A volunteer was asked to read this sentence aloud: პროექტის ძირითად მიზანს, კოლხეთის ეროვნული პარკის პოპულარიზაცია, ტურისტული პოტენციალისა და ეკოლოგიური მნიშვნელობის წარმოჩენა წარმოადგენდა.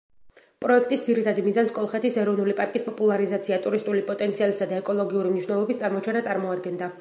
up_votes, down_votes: 0, 2